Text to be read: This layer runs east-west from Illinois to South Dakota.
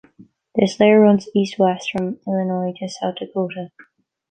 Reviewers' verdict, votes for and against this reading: rejected, 1, 2